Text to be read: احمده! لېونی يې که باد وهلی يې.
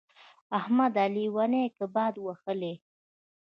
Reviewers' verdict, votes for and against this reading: accepted, 2, 1